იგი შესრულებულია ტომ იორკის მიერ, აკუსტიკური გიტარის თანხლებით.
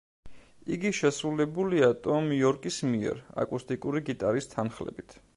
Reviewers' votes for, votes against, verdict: 2, 0, accepted